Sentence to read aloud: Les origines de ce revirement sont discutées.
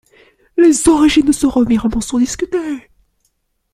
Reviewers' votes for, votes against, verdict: 2, 0, accepted